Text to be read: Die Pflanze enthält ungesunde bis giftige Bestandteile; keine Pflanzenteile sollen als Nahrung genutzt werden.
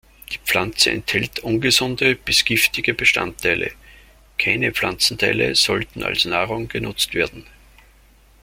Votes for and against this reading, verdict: 0, 3, rejected